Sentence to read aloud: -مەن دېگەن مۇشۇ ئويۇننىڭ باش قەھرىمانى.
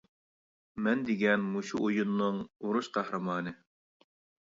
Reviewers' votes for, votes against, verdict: 0, 2, rejected